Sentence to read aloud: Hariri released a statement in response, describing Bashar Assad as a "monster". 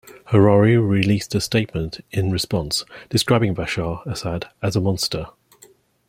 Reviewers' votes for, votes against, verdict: 2, 0, accepted